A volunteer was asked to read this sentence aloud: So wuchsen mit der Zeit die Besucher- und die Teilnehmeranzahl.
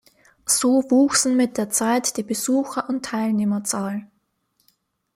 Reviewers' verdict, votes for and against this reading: rejected, 0, 2